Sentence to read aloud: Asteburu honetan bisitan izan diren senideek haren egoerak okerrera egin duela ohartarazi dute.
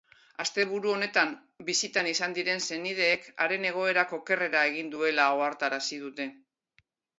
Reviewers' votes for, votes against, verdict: 2, 0, accepted